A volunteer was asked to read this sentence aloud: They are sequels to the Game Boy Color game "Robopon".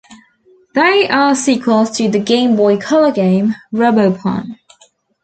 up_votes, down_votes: 2, 1